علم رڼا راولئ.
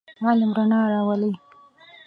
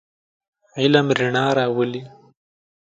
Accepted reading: second